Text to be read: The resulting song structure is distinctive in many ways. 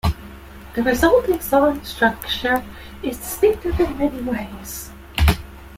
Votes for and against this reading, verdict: 2, 1, accepted